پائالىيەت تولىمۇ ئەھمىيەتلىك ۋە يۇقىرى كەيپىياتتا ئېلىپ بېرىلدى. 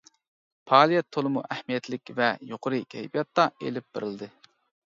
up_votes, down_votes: 2, 0